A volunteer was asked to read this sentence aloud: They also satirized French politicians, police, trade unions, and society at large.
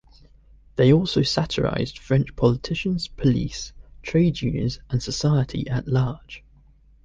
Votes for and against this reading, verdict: 0, 2, rejected